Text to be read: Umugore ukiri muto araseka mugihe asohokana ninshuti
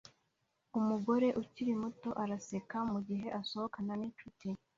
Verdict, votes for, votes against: accepted, 2, 0